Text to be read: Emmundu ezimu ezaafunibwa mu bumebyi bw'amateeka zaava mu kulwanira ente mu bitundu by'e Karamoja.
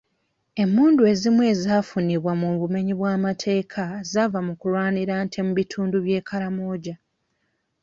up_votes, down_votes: 0, 2